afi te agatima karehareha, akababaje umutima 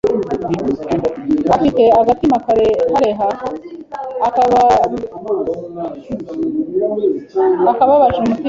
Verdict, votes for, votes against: rejected, 1, 2